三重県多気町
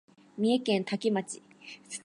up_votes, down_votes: 1, 2